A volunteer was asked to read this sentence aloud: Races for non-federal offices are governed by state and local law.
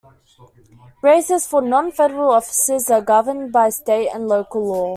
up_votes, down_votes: 2, 0